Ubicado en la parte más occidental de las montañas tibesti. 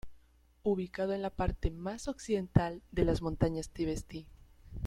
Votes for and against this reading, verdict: 1, 2, rejected